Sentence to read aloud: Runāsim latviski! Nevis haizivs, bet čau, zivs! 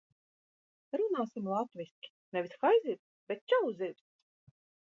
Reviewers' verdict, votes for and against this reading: accepted, 2, 1